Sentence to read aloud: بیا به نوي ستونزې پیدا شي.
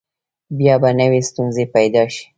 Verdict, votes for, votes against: rejected, 0, 2